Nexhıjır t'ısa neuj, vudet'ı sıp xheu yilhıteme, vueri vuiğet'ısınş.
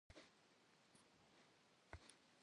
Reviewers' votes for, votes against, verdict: 1, 2, rejected